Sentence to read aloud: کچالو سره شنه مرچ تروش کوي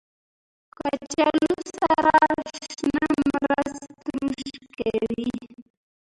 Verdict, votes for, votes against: rejected, 0, 2